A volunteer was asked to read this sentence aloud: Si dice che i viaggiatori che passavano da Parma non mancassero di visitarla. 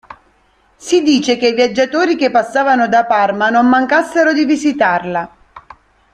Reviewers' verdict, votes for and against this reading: accepted, 2, 0